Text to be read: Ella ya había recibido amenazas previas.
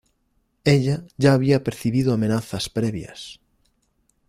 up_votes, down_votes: 0, 2